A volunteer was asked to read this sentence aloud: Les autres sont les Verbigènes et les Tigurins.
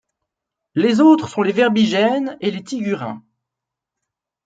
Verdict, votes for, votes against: accepted, 2, 0